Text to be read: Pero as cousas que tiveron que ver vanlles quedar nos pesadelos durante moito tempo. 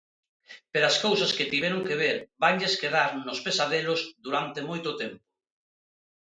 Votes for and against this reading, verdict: 2, 0, accepted